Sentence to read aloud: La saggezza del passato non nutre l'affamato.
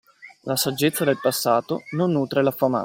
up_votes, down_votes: 1, 2